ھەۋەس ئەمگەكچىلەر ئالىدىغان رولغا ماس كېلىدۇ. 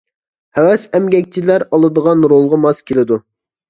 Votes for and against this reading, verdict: 3, 0, accepted